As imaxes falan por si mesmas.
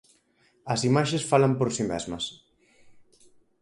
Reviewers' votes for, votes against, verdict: 4, 0, accepted